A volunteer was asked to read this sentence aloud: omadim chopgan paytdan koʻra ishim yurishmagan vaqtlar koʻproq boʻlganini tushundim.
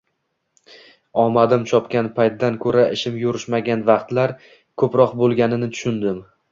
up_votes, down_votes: 0, 2